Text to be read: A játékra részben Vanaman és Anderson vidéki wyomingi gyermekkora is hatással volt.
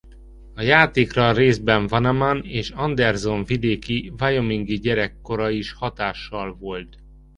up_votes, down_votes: 0, 2